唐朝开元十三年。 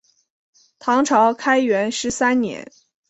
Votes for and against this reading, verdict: 3, 0, accepted